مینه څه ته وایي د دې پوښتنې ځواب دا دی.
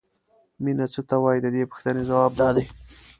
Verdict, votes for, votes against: accepted, 2, 0